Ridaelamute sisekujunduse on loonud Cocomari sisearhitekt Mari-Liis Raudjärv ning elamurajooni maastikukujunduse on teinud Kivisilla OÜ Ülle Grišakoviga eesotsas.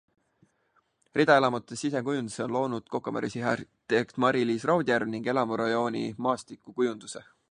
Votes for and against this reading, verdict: 0, 2, rejected